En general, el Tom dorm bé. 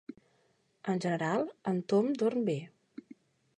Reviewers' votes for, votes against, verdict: 0, 2, rejected